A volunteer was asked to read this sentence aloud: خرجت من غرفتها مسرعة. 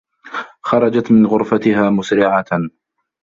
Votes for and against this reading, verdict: 1, 2, rejected